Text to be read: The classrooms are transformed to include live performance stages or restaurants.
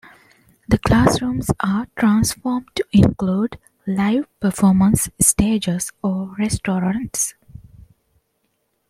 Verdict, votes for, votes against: rejected, 0, 2